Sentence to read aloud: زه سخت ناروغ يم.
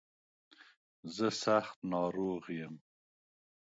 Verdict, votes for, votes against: accepted, 3, 0